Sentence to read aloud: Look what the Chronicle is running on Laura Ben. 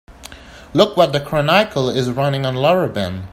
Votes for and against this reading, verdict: 1, 2, rejected